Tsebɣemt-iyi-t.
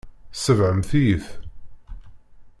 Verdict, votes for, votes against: rejected, 1, 2